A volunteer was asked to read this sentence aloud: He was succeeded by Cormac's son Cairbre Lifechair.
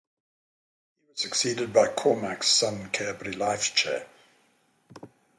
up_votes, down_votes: 0, 3